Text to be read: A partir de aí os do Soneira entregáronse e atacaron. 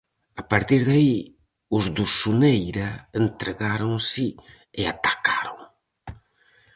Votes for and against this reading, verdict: 4, 0, accepted